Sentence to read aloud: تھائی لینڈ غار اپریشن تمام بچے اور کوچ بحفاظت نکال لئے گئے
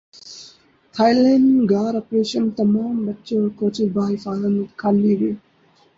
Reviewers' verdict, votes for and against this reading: rejected, 0, 2